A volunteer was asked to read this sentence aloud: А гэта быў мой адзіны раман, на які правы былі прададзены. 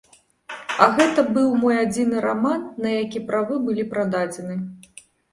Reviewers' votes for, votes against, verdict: 2, 0, accepted